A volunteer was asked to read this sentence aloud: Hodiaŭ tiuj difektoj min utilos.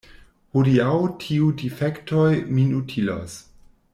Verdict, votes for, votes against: rejected, 1, 2